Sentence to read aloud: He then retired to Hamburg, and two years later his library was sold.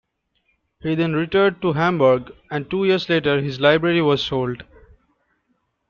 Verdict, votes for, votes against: rejected, 1, 3